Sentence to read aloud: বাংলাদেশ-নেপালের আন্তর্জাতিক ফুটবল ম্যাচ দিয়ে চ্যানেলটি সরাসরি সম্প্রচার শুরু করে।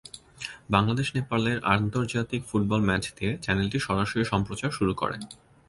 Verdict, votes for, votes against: accepted, 2, 0